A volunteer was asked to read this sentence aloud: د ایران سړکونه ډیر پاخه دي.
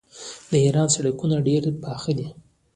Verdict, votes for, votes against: accepted, 2, 0